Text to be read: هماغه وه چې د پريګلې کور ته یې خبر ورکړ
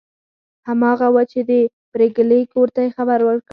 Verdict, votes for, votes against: rejected, 0, 4